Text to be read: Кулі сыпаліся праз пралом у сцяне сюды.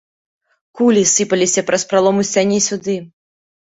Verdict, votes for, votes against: accepted, 2, 0